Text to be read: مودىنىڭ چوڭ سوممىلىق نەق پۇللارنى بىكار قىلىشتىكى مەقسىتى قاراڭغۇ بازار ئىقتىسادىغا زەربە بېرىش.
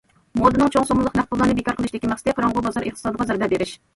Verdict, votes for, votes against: rejected, 0, 2